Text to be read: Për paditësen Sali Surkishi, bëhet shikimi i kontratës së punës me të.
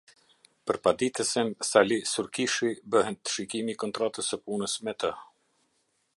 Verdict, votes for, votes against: accepted, 2, 0